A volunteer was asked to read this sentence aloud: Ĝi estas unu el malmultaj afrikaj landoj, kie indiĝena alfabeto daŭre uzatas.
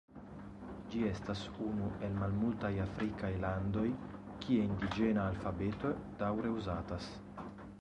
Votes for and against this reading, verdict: 2, 0, accepted